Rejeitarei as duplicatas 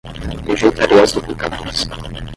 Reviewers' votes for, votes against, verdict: 5, 5, rejected